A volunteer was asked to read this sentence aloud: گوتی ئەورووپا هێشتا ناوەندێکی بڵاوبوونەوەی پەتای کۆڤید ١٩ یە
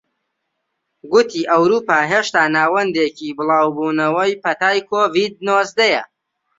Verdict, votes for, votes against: rejected, 0, 2